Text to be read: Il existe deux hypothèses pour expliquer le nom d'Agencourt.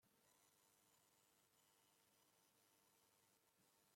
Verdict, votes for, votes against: rejected, 0, 2